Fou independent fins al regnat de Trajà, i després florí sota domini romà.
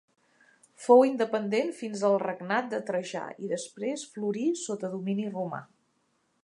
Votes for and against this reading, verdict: 4, 0, accepted